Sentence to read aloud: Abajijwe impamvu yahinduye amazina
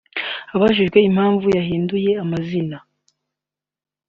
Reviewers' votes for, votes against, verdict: 2, 1, accepted